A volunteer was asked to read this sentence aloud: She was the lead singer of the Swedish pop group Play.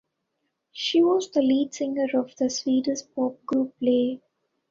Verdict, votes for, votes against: accepted, 2, 0